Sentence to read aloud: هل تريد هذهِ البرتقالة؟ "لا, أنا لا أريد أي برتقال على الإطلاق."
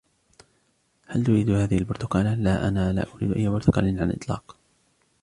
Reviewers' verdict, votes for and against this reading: accepted, 2, 1